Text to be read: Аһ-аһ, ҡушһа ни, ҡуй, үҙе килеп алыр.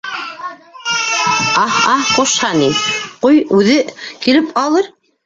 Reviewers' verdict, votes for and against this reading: rejected, 0, 3